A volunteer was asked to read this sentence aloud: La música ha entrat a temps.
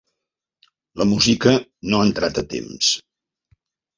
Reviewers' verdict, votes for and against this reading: rejected, 1, 2